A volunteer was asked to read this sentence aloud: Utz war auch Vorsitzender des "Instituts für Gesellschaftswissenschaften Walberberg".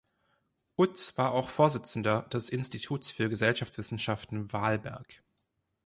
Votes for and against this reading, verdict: 0, 2, rejected